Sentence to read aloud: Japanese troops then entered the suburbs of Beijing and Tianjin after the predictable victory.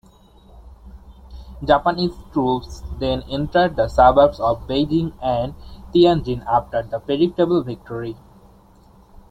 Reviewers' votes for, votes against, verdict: 2, 0, accepted